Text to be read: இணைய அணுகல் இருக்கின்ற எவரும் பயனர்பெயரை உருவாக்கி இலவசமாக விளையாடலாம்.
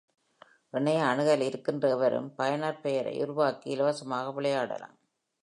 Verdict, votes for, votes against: accepted, 2, 1